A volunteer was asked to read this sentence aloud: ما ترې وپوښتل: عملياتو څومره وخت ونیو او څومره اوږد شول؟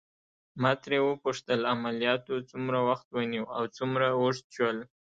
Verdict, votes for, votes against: rejected, 0, 2